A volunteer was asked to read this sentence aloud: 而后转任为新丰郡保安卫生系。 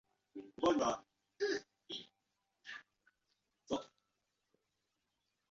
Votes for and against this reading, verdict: 0, 3, rejected